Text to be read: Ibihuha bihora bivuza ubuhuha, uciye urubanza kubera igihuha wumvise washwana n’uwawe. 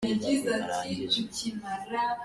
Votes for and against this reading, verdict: 0, 2, rejected